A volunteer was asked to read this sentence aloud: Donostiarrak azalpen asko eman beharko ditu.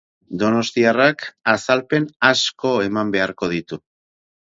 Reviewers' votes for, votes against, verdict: 4, 0, accepted